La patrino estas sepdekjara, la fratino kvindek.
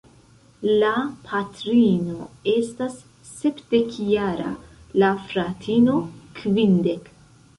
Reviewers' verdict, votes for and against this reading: rejected, 1, 2